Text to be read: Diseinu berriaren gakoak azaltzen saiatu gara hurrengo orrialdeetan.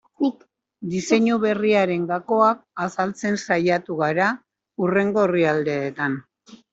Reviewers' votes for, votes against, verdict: 2, 1, accepted